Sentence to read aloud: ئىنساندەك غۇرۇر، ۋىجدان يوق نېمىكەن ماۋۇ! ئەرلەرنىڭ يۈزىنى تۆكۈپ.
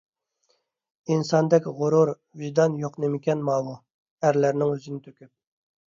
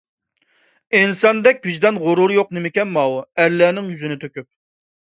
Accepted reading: first